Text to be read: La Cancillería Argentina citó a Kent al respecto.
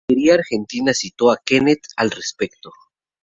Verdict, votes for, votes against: rejected, 2, 2